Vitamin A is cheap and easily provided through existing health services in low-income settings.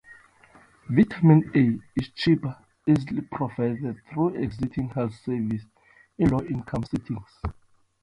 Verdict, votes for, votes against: accepted, 2, 1